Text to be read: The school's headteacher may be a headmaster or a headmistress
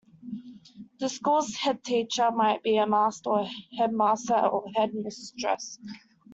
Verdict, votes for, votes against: rejected, 1, 2